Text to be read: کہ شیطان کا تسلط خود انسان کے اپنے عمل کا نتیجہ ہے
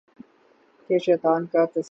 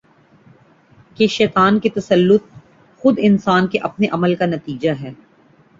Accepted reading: second